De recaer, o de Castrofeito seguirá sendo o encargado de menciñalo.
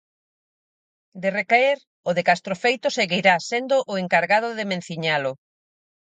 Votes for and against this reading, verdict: 4, 0, accepted